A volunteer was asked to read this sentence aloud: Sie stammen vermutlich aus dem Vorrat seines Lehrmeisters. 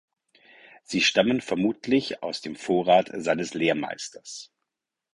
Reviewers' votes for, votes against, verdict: 4, 0, accepted